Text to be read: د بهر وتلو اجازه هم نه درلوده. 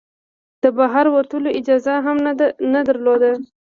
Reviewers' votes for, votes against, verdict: 2, 0, accepted